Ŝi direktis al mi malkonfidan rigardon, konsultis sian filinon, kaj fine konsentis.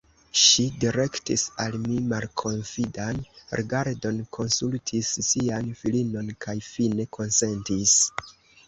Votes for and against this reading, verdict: 2, 1, accepted